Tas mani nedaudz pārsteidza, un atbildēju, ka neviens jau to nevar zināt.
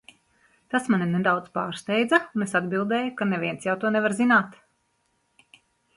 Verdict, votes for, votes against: rejected, 0, 2